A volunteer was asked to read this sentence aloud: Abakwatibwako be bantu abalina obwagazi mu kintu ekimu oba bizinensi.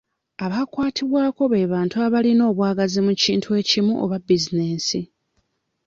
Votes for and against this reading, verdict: 2, 0, accepted